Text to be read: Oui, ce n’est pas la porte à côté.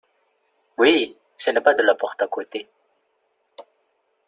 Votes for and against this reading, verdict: 1, 2, rejected